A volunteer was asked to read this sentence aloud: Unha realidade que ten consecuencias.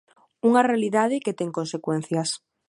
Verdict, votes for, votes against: accepted, 2, 0